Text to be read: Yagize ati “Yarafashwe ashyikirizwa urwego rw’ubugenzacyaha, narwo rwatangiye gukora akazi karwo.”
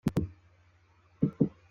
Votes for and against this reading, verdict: 1, 2, rejected